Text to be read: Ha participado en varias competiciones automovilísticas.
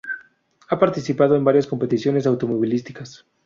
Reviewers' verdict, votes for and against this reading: accepted, 2, 0